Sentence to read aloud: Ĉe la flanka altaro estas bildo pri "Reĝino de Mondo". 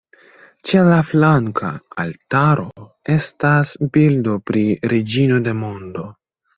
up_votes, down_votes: 2, 0